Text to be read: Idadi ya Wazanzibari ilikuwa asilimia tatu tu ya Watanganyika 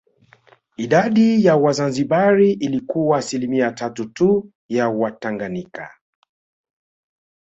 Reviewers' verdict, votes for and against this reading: accepted, 2, 1